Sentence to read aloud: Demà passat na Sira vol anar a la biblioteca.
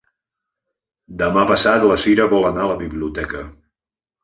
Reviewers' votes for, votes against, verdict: 1, 2, rejected